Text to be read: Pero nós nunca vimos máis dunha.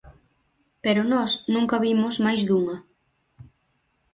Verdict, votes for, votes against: accepted, 4, 0